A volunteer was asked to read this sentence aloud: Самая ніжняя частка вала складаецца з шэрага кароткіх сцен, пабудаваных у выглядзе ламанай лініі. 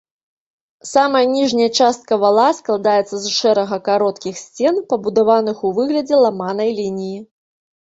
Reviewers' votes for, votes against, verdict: 2, 1, accepted